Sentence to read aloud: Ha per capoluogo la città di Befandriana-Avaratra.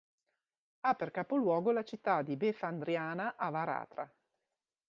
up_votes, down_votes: 2, 0